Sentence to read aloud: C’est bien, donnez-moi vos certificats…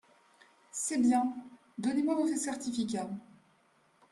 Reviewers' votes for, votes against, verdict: 1, 2, rejected